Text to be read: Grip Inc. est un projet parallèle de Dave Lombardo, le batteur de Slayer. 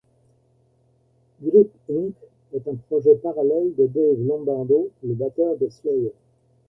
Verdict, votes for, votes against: accepted, 2, 0